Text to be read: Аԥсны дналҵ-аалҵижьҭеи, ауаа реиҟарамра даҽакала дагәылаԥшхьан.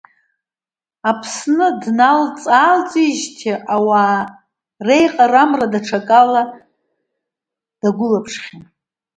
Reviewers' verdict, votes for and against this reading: accepted, 2, 0